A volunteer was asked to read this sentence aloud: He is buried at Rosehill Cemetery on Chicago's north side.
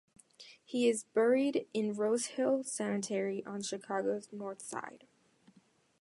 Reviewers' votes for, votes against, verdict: 0, 2, rejected